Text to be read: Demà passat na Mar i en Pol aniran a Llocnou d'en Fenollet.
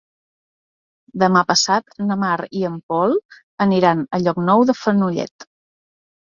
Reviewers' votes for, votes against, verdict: 1, 2, rejected